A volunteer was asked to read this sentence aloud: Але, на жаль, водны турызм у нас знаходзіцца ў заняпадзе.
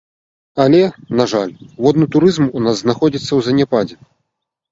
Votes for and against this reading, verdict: 2, 0, accepted